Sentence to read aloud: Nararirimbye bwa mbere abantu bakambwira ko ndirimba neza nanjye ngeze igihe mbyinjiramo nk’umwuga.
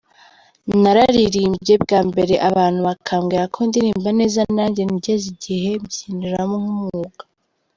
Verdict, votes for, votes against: accepted, 2, 0